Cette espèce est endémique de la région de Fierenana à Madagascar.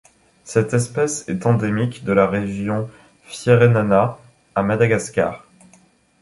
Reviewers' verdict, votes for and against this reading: accepted, 2, 1